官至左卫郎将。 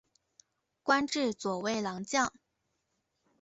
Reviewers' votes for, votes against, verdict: 2, 0, accepted